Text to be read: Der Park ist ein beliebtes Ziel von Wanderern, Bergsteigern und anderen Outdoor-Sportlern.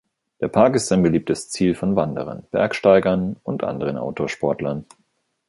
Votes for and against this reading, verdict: 2, 0, accepted